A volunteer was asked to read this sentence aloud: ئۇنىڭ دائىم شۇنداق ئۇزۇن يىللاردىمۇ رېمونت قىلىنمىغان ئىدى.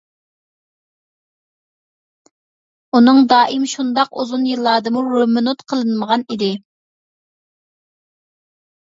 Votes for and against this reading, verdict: 2, 0, accepted